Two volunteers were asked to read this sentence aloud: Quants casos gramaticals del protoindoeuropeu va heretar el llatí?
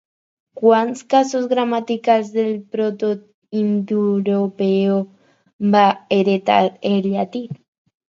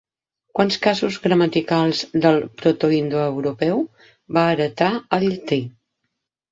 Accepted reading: second